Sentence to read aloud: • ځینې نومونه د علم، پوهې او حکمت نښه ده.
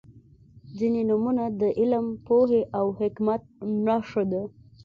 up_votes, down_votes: 2, 0